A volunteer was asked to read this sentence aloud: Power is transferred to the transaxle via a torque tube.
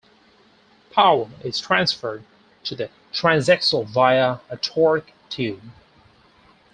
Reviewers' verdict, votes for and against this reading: accepted, 4, 0